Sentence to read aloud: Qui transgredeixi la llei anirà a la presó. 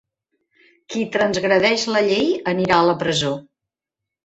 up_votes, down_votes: 2, 3